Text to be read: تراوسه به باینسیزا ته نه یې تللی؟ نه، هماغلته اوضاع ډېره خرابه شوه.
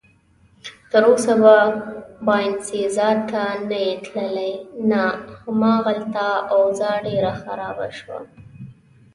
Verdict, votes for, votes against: accepted, 3, 0